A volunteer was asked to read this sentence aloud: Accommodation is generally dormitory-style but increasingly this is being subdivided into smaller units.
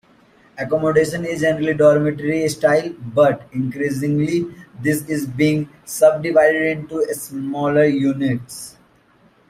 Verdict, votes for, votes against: rejected, 0, 2